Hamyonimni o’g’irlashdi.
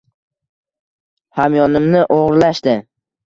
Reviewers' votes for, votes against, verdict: 2, 0, accepted